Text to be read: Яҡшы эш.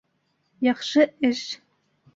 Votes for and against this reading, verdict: 1, 2, rejected